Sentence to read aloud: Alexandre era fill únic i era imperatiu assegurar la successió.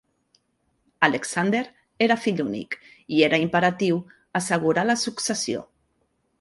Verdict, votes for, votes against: rejected, 0, 2